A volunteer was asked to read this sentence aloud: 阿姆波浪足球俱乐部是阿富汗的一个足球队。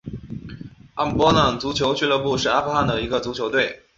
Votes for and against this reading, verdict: 4, 0, accepted